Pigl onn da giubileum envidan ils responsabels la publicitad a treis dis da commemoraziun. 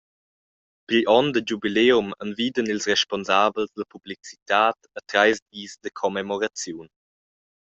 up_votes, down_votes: 2, 0